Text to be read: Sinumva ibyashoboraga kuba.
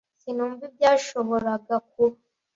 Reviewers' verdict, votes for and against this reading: accepted, 2, 0